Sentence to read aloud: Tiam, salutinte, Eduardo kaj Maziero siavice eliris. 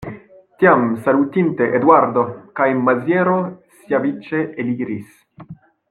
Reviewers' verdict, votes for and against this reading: rejected, 0, 2